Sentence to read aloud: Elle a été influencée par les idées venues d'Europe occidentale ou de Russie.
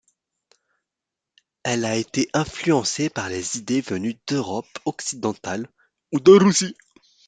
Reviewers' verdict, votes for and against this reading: accepted, 2, 0